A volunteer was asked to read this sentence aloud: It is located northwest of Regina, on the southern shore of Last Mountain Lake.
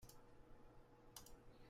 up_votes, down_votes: 0, 2